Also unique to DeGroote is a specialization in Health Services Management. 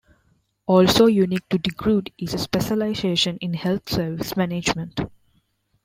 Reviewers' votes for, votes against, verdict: 1, 2, rejected